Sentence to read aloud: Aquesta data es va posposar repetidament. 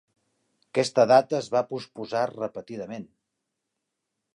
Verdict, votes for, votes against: accepted, 2, 0